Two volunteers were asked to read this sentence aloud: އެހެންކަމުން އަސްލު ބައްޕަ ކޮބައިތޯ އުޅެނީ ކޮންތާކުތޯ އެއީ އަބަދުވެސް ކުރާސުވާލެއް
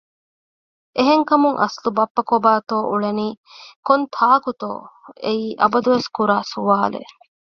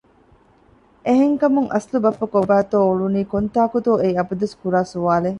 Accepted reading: first